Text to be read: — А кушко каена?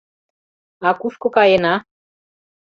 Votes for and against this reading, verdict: 2, 0, accepted